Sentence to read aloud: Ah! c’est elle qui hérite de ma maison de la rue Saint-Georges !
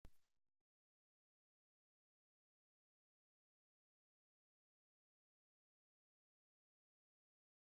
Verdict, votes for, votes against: rejected, 0, 2